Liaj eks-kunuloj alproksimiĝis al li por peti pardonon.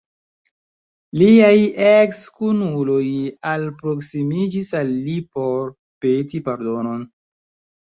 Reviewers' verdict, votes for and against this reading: accepted, 2, 1